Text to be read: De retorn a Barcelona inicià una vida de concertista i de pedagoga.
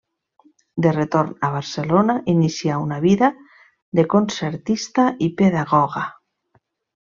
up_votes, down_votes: 1, 2